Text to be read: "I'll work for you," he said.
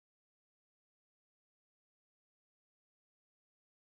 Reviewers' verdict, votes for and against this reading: rejected, 1, 2